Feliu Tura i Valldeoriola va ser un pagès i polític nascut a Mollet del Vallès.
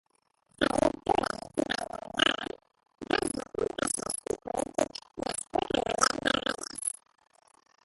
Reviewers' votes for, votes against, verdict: 0, 2, rejected